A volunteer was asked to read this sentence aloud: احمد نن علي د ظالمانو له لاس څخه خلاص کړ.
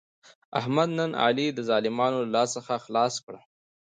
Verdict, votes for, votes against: accepted, 2, 0